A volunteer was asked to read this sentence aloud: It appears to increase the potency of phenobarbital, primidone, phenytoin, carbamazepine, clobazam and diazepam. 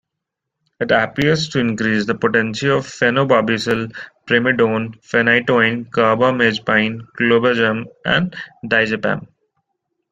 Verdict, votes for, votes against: accepted, 2, 1